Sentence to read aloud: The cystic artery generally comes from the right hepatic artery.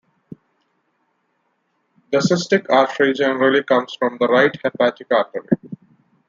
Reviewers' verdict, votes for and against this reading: rejected, 1, 2